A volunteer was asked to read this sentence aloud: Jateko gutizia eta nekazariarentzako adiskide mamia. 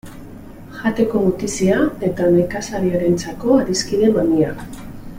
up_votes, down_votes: 2, 0